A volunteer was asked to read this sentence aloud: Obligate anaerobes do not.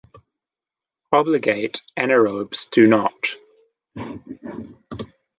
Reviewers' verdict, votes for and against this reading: accepted, 2, 0